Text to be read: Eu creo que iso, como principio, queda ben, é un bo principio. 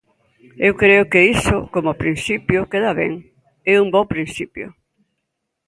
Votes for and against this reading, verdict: 2, 0, accepted